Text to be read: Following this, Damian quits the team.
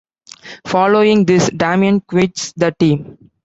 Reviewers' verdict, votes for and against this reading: rejected, 0, 2